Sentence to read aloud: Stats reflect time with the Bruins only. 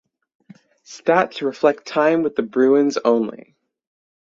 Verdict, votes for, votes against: rejected, 3, 3